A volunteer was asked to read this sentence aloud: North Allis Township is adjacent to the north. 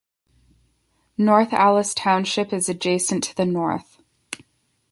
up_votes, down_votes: 2, 0